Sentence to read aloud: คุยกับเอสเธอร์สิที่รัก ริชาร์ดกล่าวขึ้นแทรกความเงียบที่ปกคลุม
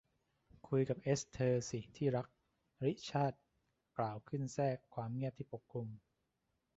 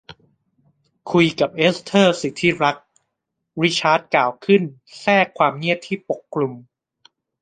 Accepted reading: second